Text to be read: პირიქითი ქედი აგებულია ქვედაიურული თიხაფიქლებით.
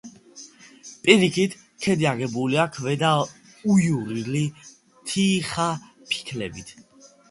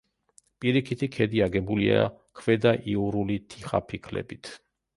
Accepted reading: second